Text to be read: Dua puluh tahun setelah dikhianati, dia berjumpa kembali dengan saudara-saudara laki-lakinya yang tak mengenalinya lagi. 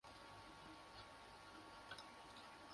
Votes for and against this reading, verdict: 0, 2, rejected